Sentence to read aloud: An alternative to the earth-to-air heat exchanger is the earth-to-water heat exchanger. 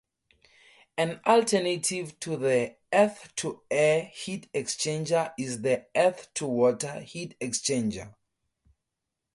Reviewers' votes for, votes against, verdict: 2, 0, accepted